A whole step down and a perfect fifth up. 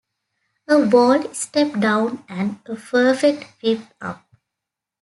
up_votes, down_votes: 2, 1